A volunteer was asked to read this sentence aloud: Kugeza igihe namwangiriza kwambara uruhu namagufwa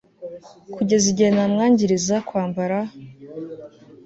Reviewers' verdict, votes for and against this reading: rejected, 1, 2